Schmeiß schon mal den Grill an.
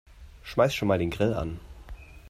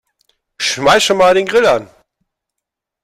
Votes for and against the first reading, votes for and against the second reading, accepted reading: 3, 0, 0, 2, first